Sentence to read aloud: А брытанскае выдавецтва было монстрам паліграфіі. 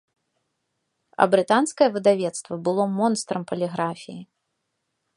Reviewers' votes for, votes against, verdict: 2, 0, accepted